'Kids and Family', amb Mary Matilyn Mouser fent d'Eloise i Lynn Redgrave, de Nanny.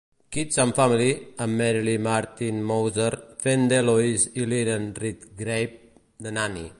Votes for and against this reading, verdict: 0, 2, rejected